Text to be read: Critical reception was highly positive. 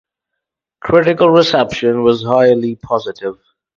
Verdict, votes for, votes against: accepted, 4, 0